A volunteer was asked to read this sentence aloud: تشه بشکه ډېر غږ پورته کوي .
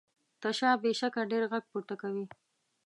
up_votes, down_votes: 1, 2